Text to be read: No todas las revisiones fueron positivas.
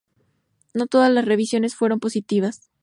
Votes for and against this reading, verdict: 2, 0, accepted